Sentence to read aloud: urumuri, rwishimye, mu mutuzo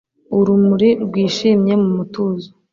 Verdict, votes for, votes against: accepted, 2, 0